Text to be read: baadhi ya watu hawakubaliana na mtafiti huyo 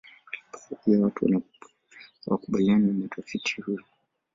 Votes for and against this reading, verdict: 1, 2, rejected